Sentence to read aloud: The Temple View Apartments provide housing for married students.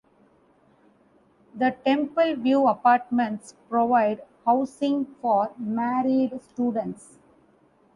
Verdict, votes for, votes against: accepted, 2, 0